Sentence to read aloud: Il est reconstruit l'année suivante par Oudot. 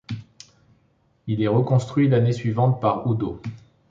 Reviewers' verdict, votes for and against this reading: accepted, 2, 0